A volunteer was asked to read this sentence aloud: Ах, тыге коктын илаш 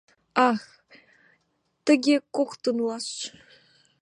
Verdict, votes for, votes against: rejected, 1, 2